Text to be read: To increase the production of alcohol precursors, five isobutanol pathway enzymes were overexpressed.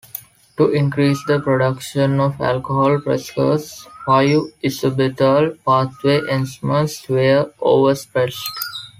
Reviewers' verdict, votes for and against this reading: rejected, 1, 2